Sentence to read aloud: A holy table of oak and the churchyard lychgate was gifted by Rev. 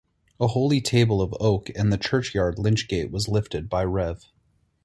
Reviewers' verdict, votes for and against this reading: rejected, 2, 4